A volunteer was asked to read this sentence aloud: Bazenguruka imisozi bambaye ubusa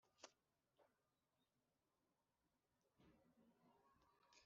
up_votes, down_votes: 1, 2